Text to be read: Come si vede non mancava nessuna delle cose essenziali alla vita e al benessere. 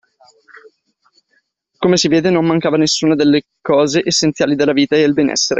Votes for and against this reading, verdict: 1, 2, rejected